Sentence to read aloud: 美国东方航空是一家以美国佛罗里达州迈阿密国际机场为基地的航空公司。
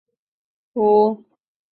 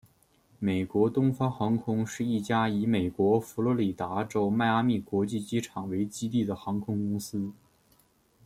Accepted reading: second